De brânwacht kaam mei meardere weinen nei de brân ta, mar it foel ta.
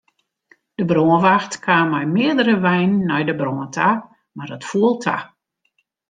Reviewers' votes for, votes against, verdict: 2, 0, accepted